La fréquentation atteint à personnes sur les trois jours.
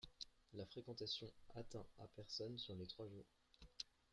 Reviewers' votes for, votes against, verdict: 1, 2, rejected